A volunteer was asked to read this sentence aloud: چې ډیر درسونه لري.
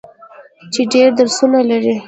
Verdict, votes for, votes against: accepted, 2, 0